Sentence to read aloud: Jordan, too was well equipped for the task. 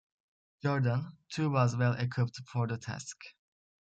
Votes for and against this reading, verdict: 2, 0, accepted